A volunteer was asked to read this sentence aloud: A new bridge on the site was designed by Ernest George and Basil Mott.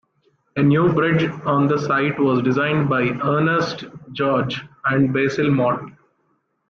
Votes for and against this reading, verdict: 2, 0, accepted